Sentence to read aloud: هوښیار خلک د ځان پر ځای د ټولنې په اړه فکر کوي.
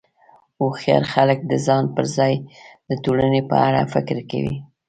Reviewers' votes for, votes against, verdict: 2, 0, accepted